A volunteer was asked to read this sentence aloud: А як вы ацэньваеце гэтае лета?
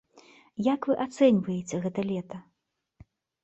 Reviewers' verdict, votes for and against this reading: rejected, 0, 2